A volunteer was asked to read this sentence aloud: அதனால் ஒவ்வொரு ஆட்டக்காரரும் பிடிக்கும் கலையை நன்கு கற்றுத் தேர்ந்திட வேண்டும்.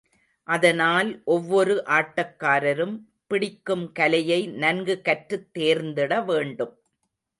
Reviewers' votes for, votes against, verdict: 2, 0, accepted